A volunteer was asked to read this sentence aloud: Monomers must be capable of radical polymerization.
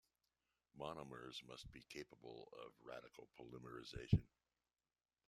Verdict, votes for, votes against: accepted, 2, 1